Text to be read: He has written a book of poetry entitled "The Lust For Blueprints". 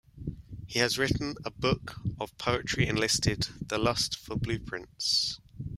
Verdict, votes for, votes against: rejected, 1, 2